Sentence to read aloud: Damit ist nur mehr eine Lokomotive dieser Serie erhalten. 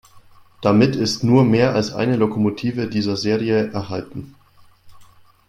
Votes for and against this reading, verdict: 1, 2, rejected